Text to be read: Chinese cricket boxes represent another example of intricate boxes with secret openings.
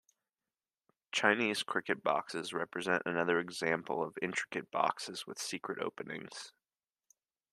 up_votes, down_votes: 0, 2